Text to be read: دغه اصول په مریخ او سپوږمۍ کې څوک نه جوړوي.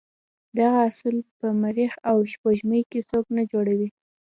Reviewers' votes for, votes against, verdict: 2, 0, accepted